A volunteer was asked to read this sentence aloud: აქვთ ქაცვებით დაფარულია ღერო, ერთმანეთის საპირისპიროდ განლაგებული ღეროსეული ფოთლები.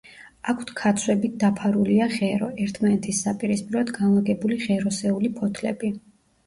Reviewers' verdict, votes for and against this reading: accepted, 2, 0